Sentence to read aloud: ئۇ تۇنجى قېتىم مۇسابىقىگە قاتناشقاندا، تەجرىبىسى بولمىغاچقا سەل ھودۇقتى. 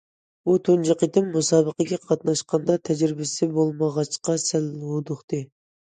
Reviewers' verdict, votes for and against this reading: accepted, 2, 0